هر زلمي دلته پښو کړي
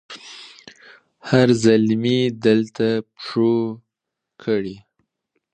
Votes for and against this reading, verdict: 2, 0, accepted